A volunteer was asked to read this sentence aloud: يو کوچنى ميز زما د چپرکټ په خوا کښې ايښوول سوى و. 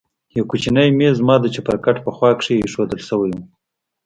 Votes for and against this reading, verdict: 2, 0, accepted